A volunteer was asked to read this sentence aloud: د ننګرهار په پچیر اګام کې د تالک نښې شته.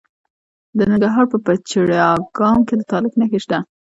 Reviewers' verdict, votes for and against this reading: accepted, 2, 0